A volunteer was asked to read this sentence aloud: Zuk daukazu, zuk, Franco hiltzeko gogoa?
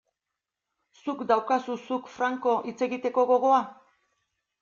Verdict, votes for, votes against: rejected, 2, 6